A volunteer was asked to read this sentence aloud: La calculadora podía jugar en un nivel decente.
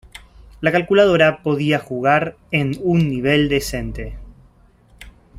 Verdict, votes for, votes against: accepted, 2, 0